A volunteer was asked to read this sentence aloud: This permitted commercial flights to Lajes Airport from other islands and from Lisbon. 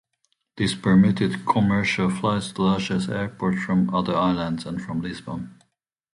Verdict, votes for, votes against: accepted, 2, 0